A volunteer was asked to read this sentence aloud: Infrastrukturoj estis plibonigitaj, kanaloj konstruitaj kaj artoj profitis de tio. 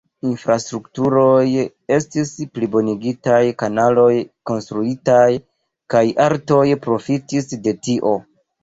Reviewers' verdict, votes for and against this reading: rejected, 1, 2